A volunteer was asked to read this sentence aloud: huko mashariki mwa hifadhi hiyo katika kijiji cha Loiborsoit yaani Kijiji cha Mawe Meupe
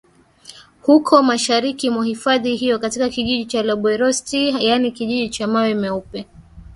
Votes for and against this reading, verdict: 3, 1, accepted